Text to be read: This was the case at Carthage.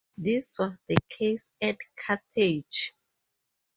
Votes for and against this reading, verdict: 2, 4, rejected